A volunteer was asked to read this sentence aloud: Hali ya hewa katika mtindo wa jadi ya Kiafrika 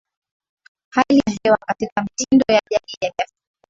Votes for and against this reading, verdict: 0, 2, rejected